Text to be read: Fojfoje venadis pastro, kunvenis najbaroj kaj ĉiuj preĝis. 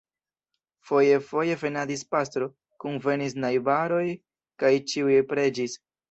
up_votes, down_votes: 1, 2